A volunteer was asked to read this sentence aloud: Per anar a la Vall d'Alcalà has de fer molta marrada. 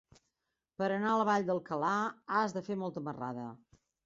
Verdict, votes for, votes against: accepted, 3, 0